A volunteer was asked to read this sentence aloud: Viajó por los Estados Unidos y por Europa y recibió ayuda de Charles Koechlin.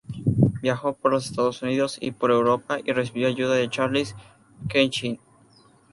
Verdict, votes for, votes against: rejected, 2, 2